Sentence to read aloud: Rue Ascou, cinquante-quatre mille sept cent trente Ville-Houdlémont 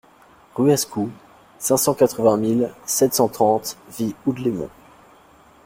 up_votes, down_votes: 0, 2